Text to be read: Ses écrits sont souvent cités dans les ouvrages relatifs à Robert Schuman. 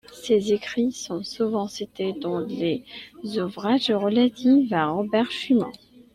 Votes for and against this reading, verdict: 1, 2, rejected